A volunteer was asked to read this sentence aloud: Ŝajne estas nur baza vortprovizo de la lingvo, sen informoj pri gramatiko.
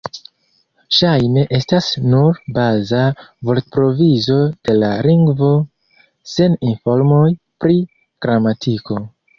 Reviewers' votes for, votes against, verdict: 1, 2, rejected